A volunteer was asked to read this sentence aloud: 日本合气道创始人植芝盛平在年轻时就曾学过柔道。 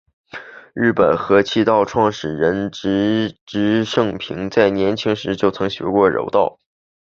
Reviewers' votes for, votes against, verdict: 4, 0, accepted